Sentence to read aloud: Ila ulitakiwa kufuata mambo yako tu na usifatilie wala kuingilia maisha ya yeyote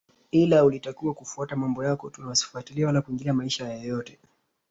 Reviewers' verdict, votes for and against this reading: accepted, 2, 1